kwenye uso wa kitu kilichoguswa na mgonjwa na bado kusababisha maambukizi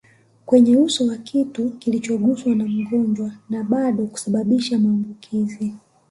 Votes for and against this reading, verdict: 2, 0, accepted